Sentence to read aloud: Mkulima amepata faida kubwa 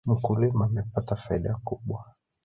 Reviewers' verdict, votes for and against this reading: rejected, 1, 2